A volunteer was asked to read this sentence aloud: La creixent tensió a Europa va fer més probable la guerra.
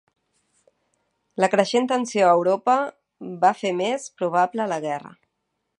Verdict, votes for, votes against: accepted, 3, 1